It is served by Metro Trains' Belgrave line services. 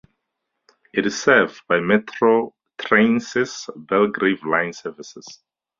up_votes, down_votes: 2, 2